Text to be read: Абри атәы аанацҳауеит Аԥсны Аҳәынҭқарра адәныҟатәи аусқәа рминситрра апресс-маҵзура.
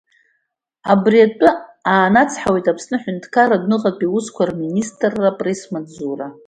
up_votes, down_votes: 2, 1